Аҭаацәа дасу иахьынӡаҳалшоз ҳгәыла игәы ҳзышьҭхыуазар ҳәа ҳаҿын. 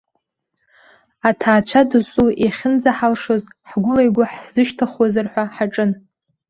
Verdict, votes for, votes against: accepted, 2, 0